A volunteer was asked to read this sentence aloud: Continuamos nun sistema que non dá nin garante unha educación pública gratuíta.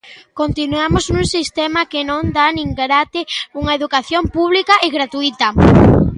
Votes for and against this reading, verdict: 0, 2, rejected